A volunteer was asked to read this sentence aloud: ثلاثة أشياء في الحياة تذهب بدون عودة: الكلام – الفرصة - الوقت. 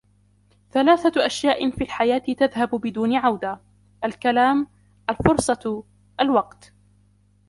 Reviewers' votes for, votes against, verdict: 1, 2, rejected